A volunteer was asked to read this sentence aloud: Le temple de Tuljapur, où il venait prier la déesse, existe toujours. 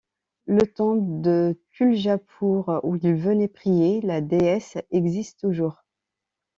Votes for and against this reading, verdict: 0, 2, rejected